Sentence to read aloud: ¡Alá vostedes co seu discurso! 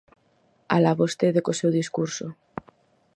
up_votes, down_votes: 2, 4